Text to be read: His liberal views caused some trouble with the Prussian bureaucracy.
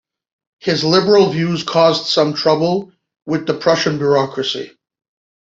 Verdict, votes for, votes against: accepted, 2, 0